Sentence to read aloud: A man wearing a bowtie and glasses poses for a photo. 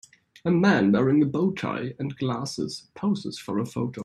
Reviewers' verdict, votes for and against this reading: accepted, 2, 0